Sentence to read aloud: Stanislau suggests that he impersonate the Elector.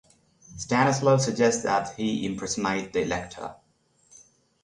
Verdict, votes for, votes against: rejected, 3, 3